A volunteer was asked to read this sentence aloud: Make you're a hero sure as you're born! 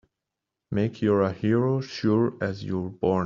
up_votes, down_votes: 2, 0